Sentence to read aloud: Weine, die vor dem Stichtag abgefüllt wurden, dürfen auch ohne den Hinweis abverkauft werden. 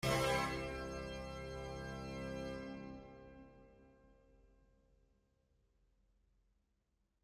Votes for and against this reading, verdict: 0, 2, rejected